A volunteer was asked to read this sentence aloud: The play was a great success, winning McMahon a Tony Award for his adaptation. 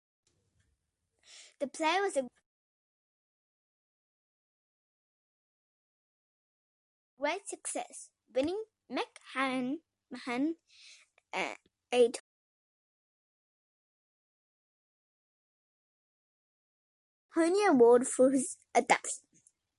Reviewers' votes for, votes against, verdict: 0, 2, rejected